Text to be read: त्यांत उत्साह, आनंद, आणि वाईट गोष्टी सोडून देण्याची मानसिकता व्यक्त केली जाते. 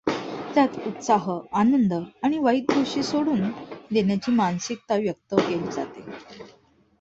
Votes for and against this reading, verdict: 2, 0, accepted